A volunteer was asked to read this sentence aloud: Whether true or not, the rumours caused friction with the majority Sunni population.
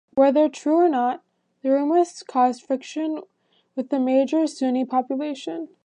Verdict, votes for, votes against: rejected, 1, 2